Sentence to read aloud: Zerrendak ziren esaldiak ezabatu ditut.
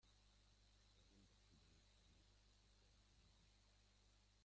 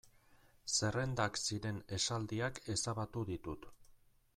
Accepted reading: second